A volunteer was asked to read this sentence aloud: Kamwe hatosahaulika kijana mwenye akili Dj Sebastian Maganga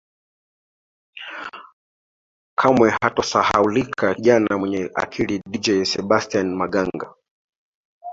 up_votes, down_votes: 2, 1